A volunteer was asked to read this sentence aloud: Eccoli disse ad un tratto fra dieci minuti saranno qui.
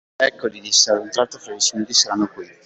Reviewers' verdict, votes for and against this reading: rejected, 1, 2